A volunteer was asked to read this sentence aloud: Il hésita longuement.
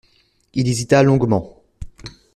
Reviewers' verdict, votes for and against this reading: accepted, 2, 0